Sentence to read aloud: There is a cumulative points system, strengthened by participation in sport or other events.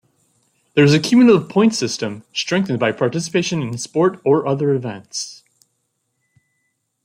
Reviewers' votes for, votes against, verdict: 2, 0, accepted